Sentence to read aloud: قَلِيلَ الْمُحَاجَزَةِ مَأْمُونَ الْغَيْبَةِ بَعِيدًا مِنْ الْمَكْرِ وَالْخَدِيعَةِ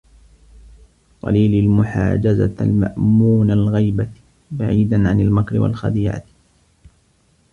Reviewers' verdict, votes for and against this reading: rejected, 0, 2